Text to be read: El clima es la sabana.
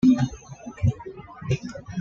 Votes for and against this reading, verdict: 1, 2, rejected